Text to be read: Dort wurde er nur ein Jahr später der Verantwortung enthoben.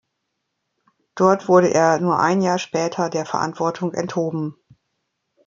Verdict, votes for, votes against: accepted, 2, 0